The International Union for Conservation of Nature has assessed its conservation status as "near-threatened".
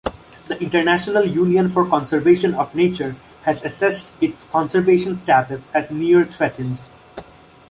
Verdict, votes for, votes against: accepted, 2, 0